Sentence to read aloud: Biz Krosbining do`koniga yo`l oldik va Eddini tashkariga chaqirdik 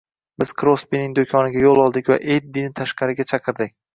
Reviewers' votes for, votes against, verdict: 2, 0, accepted